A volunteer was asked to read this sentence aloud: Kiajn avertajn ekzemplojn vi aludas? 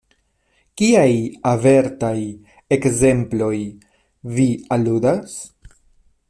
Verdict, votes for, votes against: rejected, 1, 2